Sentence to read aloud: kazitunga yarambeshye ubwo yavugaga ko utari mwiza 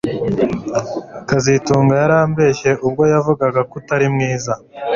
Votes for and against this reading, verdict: 2, 0, accepted